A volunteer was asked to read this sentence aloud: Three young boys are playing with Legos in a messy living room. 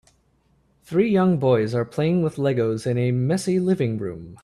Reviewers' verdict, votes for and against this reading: accepted, 2, 0